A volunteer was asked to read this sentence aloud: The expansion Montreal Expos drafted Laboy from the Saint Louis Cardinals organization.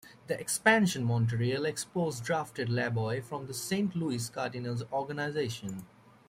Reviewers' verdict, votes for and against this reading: accepted, 2, 0